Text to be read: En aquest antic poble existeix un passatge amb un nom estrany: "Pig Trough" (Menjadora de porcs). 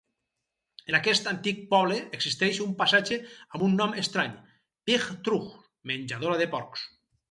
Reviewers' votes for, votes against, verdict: 2, 4, rejected